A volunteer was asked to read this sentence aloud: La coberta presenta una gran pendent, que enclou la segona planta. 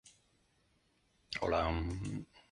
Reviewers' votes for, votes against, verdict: 0, 2, rejected